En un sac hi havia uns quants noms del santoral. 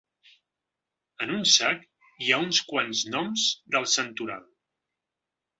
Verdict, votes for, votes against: rejected, 1, 2